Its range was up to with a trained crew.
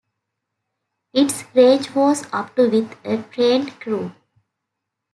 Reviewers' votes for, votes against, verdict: 0, 2, rejected